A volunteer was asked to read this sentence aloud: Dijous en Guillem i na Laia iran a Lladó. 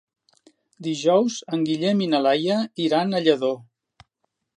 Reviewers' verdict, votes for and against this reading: accepted, 3, 0